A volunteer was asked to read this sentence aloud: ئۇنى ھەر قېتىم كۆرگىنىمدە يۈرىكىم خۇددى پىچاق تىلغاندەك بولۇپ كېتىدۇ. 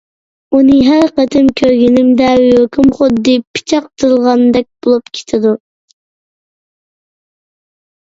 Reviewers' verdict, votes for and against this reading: accepted, 2, 0